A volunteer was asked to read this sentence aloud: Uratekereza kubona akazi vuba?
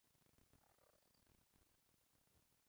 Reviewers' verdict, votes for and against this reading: rejected, 0, 2